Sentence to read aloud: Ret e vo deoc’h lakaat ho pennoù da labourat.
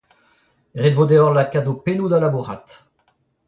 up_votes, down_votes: 0, 2